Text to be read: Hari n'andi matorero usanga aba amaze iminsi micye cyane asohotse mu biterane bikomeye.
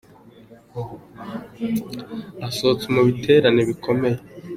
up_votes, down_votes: 0, 2